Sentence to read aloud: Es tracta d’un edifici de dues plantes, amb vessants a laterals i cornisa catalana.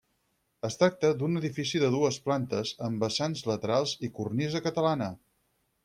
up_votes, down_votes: 4, 0